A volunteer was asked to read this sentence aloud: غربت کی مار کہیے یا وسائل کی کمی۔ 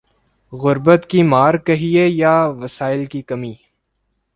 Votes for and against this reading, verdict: 2, 0, accepted